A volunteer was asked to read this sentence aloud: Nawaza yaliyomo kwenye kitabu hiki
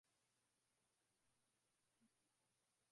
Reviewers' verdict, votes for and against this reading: rejected, 0, 2